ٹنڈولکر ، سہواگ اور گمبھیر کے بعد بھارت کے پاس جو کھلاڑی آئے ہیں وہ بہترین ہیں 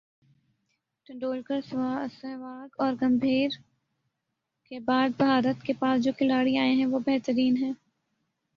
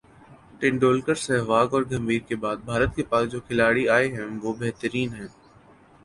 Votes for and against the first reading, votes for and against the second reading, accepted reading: 0, 3, 2, 0, second